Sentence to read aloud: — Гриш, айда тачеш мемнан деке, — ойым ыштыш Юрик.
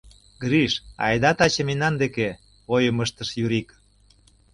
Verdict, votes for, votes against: rejected, 0, 2